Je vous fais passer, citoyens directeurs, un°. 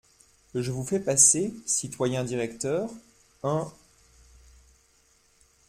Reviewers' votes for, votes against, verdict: 1, 2, rejected